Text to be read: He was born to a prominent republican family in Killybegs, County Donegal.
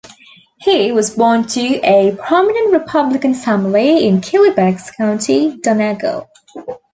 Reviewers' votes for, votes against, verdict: 2, 0, accepted